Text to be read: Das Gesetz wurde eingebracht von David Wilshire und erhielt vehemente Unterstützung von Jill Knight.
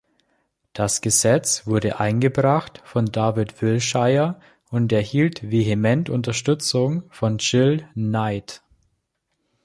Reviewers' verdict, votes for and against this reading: accepted, 2, 0